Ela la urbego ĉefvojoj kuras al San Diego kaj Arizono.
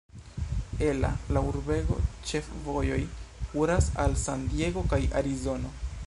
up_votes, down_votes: 1, 2